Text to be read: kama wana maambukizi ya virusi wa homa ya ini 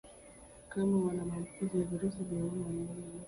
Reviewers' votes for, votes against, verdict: 1, 2, rejected